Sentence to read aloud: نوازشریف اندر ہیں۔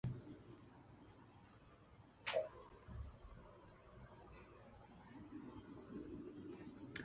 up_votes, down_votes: 0, 2